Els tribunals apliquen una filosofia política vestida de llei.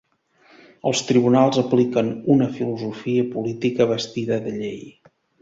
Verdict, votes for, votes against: accepted, 2, 0